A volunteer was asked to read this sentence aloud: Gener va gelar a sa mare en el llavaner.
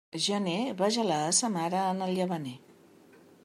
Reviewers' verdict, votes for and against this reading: accepted, 2, 0